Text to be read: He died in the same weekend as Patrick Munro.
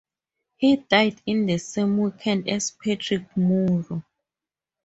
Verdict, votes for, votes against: rejected, 0, 4